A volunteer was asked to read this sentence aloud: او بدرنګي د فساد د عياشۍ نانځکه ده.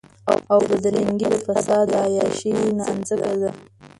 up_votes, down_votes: 1, 2